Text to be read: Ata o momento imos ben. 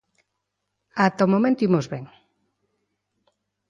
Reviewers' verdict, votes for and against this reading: accepted, 2, 0